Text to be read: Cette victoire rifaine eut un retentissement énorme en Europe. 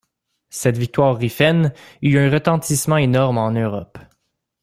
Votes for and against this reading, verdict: 1, 2, rejected